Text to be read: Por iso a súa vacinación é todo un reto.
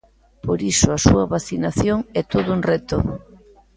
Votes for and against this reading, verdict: 2, 0, accepted